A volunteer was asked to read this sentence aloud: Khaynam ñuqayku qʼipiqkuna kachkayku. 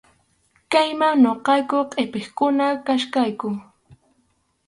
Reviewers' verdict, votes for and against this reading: rejected, 0, 4